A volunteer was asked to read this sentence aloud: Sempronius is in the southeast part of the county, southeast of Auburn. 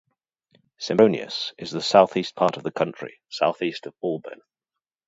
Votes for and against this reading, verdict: 0, 2, rejected